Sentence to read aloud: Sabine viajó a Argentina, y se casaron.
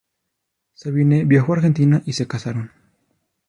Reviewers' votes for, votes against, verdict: 2, 0, accepted